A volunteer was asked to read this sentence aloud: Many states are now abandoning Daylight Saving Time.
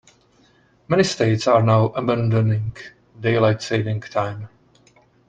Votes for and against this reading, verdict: 2, 0, accepted